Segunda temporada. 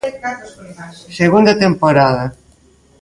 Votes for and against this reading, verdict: 2, 0, accepted